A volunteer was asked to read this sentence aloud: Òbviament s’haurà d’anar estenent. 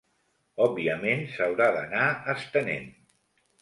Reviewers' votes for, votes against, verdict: 2, 0, accepted